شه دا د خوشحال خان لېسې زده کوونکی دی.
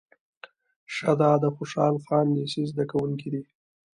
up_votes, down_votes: 1, 2